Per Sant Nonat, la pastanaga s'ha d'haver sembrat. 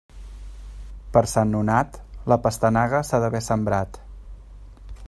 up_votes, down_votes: 2, 0